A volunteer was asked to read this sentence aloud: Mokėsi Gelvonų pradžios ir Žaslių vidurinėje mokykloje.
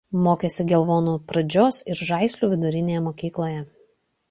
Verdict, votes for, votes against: rejected, 0, 2